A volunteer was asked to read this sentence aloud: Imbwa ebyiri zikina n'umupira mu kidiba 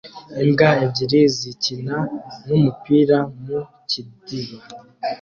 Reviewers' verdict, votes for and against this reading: rejected, 1, 2